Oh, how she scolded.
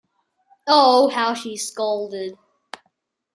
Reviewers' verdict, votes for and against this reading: accepted, 2, 0